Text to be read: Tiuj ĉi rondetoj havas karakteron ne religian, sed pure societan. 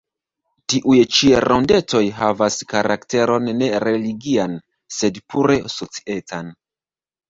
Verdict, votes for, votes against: rejected, 0, 2